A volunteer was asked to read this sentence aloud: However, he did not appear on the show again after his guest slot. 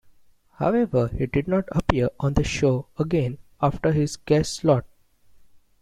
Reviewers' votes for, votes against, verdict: 2, 0, accepted